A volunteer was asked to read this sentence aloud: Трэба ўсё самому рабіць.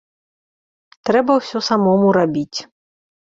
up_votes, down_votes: 2, 0